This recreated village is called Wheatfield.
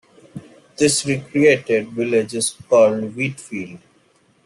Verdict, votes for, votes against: accepted, 2, 0